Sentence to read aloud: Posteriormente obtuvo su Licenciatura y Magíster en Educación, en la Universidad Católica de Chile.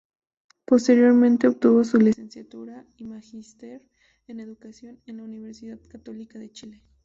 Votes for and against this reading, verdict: 2, 2, rejected